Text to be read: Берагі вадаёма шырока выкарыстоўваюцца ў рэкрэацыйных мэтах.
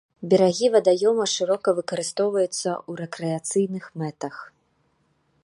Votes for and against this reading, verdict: 2, 0, accepted